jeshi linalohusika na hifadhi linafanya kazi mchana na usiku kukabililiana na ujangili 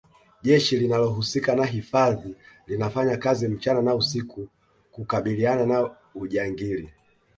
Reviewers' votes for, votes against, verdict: 2, 0, accepted